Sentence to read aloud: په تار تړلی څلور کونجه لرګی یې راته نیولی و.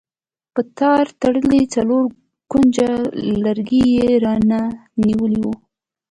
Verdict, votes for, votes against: accepted, 2, 0